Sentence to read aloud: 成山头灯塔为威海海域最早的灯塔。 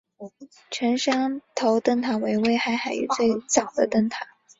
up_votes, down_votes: 4, 0